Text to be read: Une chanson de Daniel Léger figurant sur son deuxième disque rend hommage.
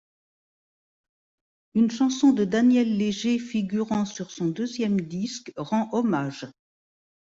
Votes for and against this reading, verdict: 2, 0, accepted